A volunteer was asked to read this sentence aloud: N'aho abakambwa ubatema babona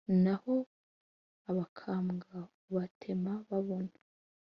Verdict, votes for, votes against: accepted, 2, 0